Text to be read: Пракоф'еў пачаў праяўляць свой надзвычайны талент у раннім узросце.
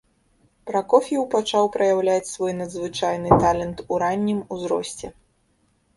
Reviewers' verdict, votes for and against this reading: accepted, 2, 0